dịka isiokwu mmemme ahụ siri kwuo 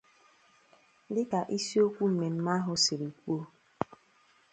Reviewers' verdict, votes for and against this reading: accepted, 2, 0